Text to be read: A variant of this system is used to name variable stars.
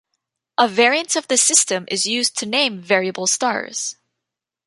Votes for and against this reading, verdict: 2, 1, accepted